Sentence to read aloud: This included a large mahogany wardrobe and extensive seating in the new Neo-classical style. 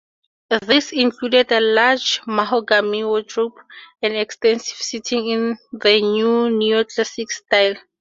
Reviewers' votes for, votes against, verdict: 4, 0, accepted